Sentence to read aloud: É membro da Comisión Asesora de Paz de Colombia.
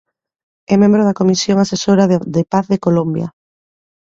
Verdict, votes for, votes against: rejected, 0, 3